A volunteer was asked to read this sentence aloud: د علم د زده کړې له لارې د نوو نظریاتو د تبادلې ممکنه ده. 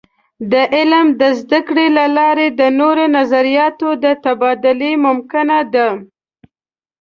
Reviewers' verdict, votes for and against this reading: rejected, 1, 2